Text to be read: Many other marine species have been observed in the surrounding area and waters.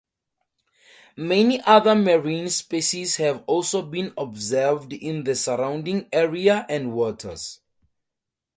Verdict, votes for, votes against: rejected, 0, 2